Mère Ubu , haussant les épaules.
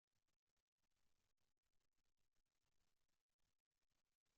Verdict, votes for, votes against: rejected, 0, 2